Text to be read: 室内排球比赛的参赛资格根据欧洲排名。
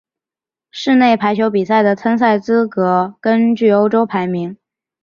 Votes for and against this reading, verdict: 5, 0, accepted